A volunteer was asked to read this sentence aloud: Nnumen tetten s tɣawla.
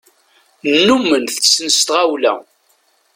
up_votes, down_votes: 2, 1